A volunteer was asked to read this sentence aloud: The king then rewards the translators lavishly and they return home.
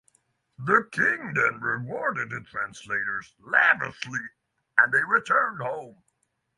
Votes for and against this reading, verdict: 0, 6, rejected